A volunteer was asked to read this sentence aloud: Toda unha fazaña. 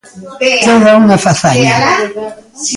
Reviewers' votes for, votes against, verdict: 0, 2, rejected